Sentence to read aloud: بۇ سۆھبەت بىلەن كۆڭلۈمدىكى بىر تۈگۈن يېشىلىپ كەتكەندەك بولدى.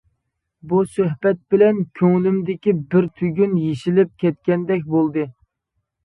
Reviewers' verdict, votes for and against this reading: accepted, 2, 0